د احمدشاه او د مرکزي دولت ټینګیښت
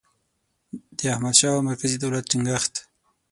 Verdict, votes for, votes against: accepted, 6, 0